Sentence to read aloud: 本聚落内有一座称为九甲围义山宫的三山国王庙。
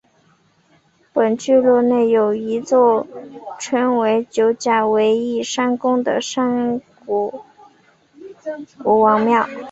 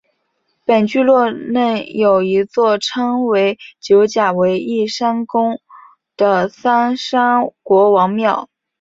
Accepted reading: second